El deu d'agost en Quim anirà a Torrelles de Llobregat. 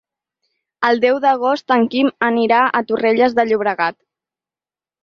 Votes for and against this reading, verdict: 4, 0, accepted